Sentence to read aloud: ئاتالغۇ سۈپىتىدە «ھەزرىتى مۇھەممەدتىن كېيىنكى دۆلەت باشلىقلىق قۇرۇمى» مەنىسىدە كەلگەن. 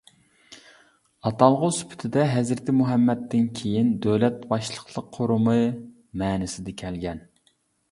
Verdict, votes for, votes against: rejected, 0, 2